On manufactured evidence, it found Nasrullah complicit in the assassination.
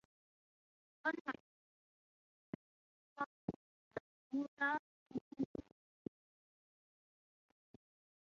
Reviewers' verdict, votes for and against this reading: rejected, 0, 6